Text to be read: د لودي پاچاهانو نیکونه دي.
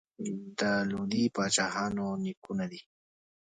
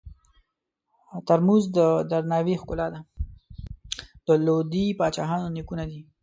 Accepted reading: first